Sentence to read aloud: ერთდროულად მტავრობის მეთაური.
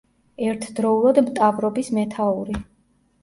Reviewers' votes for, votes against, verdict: 0, 2, rejected